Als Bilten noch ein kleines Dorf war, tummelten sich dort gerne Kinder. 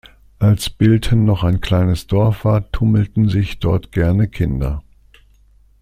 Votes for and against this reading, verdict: 2, 0, accepted